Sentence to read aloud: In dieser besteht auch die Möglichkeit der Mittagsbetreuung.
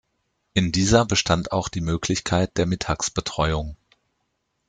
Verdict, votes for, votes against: rejected, 0, 2